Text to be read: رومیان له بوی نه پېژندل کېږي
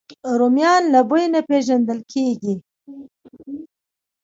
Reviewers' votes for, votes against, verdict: 2, 0, accepted